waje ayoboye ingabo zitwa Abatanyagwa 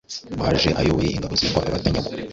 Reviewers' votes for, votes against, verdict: 1, 2, rejected